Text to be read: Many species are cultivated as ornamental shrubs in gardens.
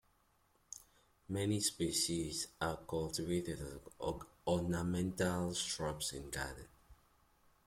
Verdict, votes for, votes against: rejected, 0, 2